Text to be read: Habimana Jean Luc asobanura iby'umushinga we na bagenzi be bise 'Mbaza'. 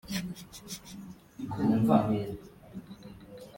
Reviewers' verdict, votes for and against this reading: rejected, 0, 2